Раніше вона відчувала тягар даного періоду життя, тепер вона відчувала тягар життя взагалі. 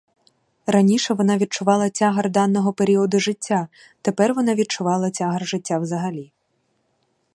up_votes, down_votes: 2, 2